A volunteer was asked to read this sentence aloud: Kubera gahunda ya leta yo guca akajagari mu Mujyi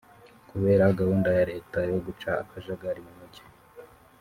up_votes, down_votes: 0, 2